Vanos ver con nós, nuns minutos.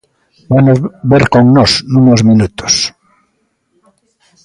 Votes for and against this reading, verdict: 0, 2, rejected